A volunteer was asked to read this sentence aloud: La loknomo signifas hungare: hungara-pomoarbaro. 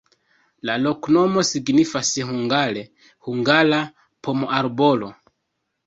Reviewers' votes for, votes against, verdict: 0, 2, rejected